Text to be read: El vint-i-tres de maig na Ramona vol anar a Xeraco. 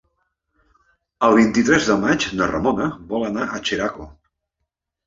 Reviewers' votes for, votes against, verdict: 3, 0, accepted